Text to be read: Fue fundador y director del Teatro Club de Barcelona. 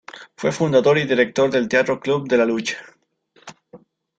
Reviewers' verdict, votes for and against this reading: rejected, 0, 2